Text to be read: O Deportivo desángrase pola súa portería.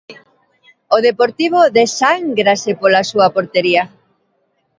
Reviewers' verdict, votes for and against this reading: rejected, 1, 2